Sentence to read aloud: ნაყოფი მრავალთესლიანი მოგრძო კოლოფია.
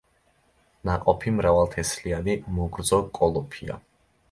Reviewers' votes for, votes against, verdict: 2, 0, accepted